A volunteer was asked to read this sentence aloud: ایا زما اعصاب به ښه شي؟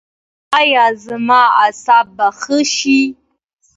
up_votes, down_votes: 2, 0